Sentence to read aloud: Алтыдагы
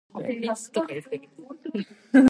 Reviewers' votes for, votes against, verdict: 0, 2, rejected